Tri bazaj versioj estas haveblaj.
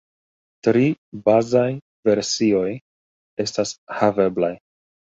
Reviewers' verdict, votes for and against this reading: accepted, 2, 0